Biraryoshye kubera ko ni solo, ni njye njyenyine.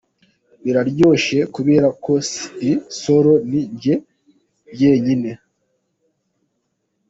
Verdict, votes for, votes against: rejected, 1, 2